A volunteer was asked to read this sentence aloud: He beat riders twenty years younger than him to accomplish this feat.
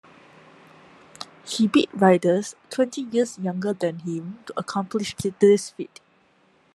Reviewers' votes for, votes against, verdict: 2, 0, accepted